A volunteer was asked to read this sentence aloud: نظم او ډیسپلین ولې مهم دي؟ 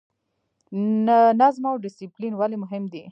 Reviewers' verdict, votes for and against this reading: rejected, 1, 2